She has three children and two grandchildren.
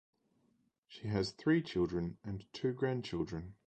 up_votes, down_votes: 2, 0